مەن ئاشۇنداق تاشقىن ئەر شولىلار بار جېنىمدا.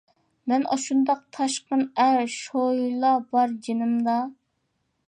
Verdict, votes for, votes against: accepted, 2, 1